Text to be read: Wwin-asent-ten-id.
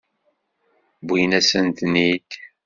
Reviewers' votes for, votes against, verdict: 3, 0, accepted